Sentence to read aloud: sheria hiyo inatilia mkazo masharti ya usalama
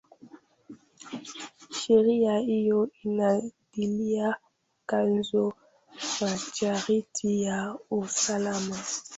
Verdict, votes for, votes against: rejected, 0, 2